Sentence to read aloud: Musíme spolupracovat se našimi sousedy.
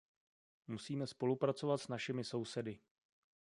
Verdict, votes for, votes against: rejected, 1, 2